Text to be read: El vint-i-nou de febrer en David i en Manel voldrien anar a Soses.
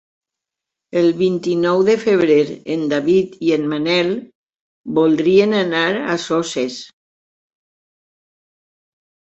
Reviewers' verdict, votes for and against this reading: accepted, 4, 0